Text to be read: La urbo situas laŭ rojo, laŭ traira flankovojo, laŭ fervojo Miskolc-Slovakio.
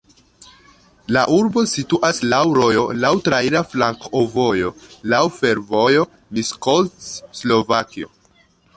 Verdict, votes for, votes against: rejected, 0, 2